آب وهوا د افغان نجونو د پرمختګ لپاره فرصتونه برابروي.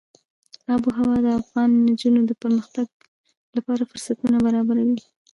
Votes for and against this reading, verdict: 0, 2, rejected